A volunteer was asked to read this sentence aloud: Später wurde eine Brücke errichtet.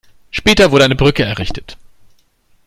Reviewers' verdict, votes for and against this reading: accepted, 2, 0